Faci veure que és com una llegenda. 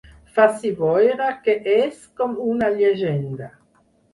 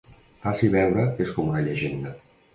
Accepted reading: second